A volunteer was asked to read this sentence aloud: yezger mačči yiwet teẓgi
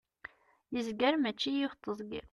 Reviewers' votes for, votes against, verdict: 2, 0, accepted